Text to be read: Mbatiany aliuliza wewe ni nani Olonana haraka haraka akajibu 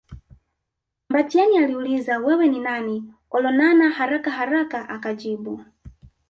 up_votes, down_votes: 2, 1